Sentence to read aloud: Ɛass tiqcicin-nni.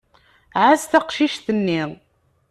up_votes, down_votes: 0, 2